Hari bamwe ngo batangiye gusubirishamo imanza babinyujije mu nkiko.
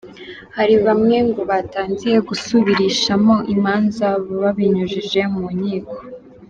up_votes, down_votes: 2, 0